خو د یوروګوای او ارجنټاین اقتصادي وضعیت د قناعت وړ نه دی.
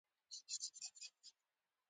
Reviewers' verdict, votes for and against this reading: rejected, 0, 2